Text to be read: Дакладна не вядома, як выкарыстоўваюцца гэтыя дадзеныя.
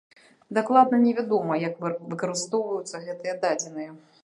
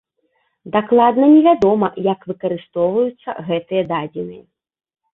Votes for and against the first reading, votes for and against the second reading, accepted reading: 1, 2, 2, 0, second